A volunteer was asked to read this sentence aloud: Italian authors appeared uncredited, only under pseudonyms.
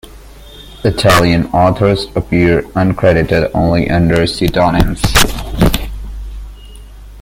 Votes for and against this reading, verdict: 1, 2, rejected